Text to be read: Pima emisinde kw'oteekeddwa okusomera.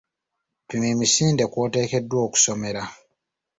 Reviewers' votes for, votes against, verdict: 2, 0, accepted